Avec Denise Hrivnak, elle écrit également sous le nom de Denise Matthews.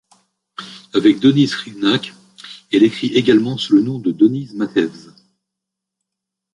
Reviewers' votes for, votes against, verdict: 0, 2, rejected